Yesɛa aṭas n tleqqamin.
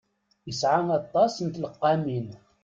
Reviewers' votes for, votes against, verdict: 2, 0, accepted